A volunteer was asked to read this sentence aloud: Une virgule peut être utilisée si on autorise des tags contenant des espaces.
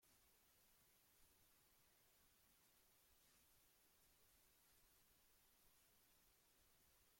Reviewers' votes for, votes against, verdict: 0, 2, rejected